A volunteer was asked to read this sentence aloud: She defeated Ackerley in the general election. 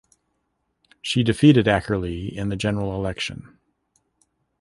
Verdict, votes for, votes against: accepted, 2, 0